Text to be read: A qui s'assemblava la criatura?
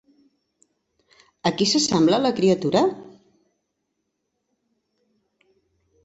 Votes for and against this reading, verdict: 1, 2, rejected